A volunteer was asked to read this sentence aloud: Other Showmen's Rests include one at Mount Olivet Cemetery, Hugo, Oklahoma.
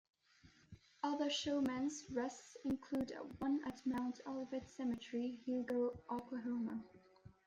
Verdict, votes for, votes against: rejected, 0, 2